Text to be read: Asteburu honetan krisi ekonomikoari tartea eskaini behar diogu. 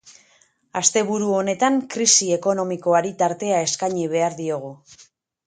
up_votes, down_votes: 2, 0